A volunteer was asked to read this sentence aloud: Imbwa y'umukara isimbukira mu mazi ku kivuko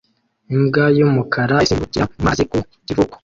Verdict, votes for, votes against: rejected, 0, 2